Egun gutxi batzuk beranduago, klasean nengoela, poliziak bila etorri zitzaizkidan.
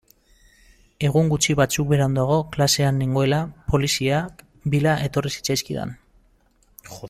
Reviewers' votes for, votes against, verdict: 0, 2, rejected